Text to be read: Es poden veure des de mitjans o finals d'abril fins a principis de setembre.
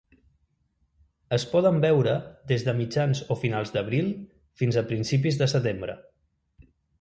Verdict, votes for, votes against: accepted, 2, 0